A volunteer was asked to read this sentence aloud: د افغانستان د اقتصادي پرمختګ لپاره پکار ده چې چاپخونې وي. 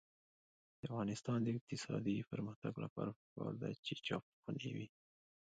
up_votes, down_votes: 2, 1